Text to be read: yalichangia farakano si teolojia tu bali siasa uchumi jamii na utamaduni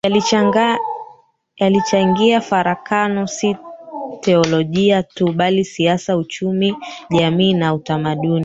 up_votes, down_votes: 0, 3